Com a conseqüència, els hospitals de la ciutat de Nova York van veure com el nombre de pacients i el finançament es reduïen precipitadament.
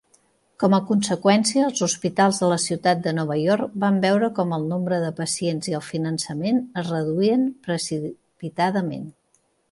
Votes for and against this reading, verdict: 1, 3, rejected